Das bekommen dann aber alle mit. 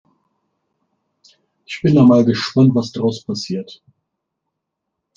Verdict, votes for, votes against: rejected, 0, 2